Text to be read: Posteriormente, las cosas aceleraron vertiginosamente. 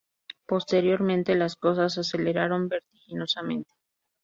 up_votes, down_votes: 2, 0